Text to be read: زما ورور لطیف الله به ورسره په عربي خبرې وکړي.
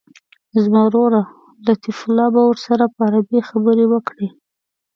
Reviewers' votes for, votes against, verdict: 2, 0, accepted